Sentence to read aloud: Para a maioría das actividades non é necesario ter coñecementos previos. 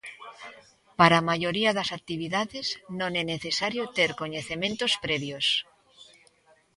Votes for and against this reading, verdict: 2, 0, accepted